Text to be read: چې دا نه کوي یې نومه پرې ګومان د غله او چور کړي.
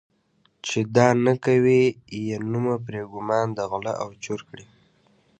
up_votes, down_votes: 2, 0